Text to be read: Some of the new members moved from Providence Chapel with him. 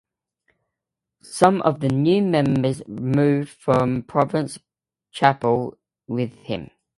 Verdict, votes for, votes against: rejected, 2, 3